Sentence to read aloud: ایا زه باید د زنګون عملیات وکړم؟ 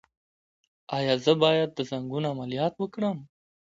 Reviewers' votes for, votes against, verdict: 2, 0, accepted